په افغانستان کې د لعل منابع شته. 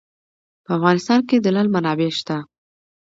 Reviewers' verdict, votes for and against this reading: accepted, 2, 0